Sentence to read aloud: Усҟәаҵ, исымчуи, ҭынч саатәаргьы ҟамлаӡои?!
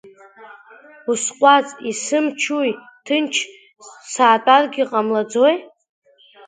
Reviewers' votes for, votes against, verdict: 2, 1, accepted